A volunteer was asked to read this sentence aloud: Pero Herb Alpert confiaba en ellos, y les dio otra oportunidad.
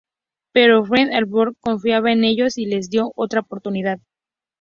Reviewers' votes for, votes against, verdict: 2, 0, accepted